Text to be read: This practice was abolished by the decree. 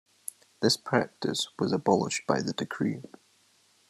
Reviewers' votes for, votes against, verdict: 2, 0, accepted